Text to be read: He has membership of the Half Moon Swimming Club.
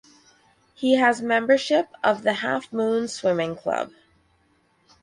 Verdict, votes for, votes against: accepted, 4, 0